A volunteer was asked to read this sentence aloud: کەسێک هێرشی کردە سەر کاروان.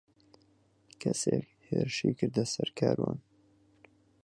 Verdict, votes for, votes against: rejected, 0, 4